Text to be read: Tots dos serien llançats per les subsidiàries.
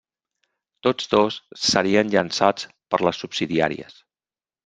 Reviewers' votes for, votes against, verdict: 3, 0, accepted